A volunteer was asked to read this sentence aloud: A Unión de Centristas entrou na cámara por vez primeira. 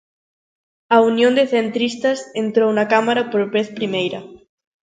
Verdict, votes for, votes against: accepted, 2, 0